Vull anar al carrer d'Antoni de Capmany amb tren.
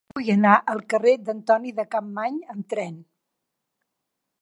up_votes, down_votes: 3, 0